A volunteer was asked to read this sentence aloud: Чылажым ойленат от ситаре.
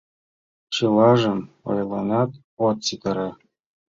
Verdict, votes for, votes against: accepted, 2, 1